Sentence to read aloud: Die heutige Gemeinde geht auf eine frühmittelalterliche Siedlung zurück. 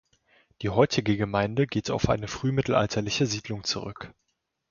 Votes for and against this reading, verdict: 2, 0, accepted